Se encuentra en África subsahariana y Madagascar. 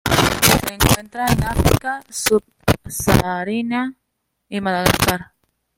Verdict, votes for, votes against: rejected, 1, 2